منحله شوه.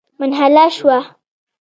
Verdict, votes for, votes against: rejected, 1, 2